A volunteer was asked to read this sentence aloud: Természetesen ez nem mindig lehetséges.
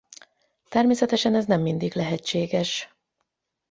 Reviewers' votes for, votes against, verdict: 8, 0, accepted